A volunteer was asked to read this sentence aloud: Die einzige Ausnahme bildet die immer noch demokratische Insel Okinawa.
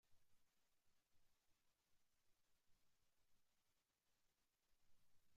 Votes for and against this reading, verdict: 0, 2, rejected